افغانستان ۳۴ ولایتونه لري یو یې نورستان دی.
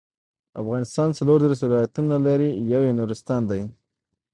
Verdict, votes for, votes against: rejected, 0, 2